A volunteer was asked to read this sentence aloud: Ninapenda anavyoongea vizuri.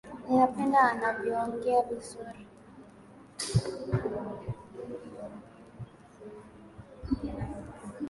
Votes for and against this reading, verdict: 2, 0, accepted